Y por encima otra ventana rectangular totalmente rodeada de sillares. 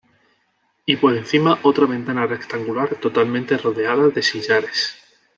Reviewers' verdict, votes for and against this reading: accepted, 3, 0